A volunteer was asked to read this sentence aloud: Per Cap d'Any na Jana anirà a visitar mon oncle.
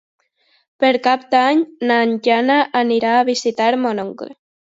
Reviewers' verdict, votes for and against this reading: rejected, 0, 2